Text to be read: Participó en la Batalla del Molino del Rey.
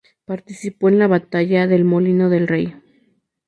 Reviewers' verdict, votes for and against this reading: rejected, 2, 2